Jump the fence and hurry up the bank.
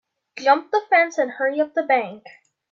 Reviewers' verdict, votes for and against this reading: accepted, 2, 0